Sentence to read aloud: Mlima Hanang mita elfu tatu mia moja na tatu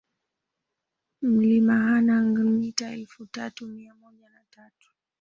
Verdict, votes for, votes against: rejected, 0, 2